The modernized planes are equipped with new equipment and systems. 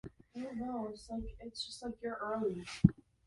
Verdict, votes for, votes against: rejected, 0, 2